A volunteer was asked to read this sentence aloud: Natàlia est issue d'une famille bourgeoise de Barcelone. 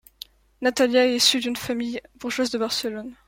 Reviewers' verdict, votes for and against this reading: accepted, 2, 0